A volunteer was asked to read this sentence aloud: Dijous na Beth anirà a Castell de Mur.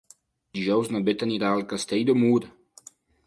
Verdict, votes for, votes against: rejected, 0, 2